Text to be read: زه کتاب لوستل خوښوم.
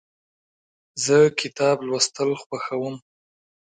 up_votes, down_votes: 2, 0